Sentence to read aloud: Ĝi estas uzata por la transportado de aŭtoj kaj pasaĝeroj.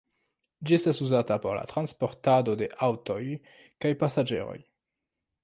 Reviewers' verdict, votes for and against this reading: rejected, 1, 2